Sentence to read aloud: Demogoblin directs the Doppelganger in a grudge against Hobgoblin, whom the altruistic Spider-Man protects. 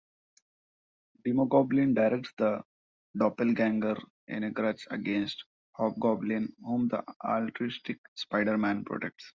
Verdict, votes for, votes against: accepted, 2, 0